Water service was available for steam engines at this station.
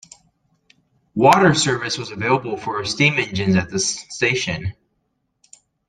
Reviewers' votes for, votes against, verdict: 2, 0, accepted